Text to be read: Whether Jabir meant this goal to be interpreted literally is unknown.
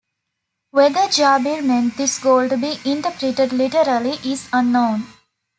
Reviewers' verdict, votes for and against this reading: accepted, 2, 0